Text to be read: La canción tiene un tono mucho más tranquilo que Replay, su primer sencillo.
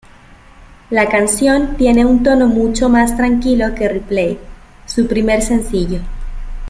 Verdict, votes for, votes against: accepted, 2, 0